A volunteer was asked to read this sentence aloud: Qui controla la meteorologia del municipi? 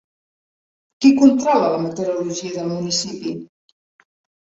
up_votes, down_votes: 2, 0